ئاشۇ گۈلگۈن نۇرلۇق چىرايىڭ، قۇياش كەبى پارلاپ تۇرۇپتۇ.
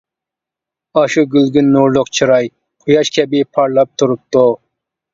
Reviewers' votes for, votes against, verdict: 0, 2, rejected